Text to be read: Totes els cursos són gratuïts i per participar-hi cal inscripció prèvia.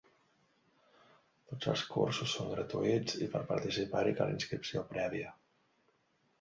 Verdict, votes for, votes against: rejected, 1, 2